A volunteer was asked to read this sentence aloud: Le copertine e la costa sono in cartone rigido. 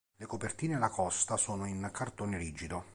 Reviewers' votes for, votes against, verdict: 3, 0, accepted